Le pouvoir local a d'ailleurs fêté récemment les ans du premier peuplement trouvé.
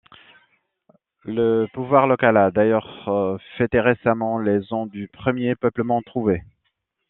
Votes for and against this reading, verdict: 2, 0, accepted